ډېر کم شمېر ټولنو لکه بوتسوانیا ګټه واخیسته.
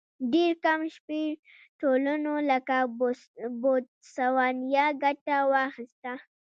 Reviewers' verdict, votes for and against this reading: rejected, 1, 2